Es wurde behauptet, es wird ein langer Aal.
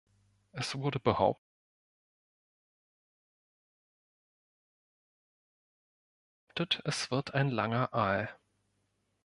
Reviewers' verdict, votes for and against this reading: rejected, 1, 2